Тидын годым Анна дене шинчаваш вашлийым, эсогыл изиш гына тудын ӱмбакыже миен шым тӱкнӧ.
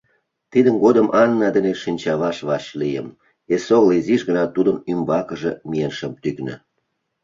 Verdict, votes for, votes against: accepted, 2, 0